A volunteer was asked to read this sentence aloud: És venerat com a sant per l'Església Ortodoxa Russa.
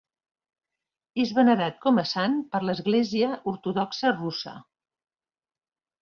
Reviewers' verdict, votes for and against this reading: accepted, 2, 0